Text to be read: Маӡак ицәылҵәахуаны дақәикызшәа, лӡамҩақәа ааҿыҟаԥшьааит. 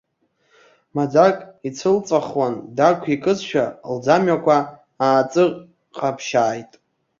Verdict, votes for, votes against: rejected, 1, 2